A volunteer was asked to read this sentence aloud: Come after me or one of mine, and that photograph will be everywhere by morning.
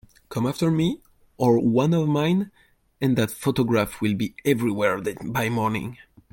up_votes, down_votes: 0, 2